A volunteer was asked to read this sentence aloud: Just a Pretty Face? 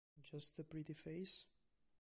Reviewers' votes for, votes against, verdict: 3, 0, accepted